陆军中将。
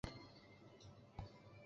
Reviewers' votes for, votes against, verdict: 0, 2, rejected